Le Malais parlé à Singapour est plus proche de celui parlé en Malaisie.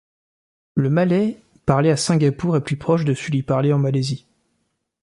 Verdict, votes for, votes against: accepted, 2, 0